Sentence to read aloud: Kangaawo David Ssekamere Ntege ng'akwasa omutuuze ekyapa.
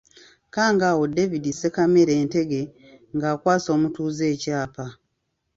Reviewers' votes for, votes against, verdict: 2, 0, accepted